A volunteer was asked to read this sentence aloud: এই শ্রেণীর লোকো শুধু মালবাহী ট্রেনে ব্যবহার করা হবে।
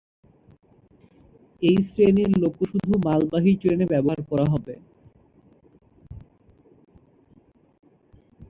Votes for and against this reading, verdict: 0, 2, rejected